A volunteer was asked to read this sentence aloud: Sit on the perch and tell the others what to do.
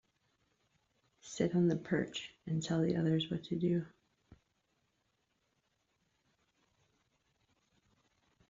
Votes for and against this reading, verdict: 2, 0, accepted